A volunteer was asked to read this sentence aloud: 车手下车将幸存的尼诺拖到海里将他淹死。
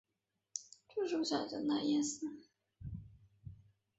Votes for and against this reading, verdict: 0, 4, rejected